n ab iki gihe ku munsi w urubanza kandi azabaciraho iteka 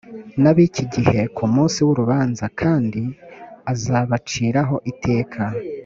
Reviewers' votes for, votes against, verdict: 4, 0, accepted